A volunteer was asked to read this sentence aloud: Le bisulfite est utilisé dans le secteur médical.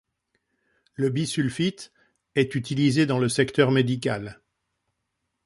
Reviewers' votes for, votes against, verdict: 2, 0, accepted